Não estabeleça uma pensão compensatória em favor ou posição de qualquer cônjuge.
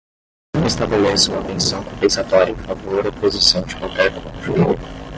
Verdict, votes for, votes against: rejected, 5, 5